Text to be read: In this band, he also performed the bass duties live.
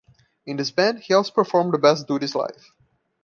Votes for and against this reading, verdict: 0, 2, rejected